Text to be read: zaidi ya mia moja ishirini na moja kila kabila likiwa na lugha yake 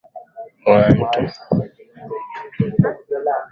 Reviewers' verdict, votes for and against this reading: rejected, 1, 27